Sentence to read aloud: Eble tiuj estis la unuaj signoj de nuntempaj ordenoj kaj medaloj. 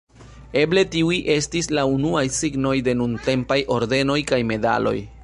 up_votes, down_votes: 2, 0